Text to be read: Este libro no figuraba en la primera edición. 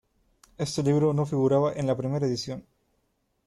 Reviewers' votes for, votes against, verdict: 2, 0, accepted